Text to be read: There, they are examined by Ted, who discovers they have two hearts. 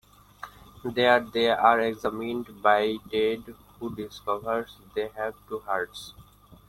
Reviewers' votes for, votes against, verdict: 1, 2, rejected